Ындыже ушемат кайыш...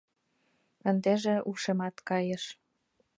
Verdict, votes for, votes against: rejected, 1, 2